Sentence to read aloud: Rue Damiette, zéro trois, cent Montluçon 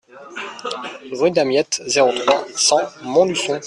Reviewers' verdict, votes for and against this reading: accepted, 2, 0